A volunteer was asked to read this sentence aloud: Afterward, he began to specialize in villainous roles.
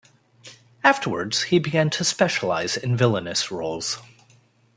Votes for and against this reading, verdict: 0, 2, rejected